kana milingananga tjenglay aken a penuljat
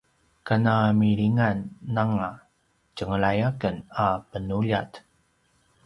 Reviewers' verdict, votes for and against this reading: rejected, 0, 2